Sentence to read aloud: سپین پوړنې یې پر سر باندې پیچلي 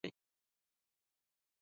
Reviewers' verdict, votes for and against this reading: rejected, 0, 2